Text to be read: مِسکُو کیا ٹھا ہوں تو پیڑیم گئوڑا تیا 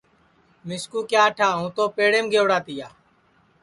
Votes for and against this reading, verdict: 4, 0, accepted